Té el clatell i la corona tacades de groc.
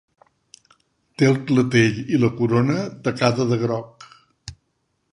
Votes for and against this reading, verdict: 1, 2, rejected